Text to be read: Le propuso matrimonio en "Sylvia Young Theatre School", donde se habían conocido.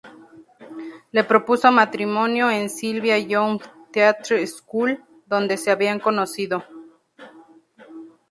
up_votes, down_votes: 0, 2